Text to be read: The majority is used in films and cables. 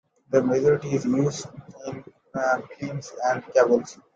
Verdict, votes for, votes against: accepted, 2, 1